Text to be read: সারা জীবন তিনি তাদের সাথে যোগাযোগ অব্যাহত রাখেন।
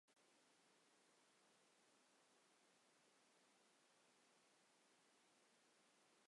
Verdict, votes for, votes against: rejected, 0, 3